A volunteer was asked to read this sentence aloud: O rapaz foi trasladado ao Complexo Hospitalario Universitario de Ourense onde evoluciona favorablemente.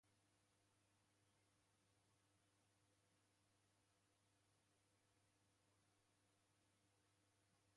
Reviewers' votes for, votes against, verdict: 0, 2, rejected